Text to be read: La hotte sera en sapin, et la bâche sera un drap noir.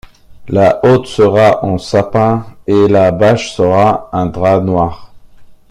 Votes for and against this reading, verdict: 2, 0, accepted